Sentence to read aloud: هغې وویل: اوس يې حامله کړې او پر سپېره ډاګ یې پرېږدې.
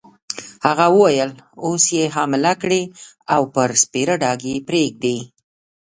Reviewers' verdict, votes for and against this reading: rejected, 1, 2